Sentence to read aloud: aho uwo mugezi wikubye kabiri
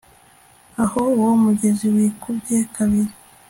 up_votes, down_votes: 2, 0